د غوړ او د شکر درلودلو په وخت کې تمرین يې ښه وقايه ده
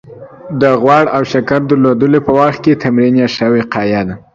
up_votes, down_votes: 2, 0